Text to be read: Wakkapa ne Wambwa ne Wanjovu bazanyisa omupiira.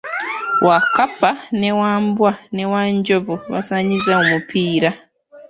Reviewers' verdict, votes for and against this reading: rejected, 1, 2